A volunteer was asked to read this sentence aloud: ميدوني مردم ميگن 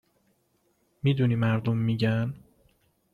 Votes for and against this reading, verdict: 2, 0, accepted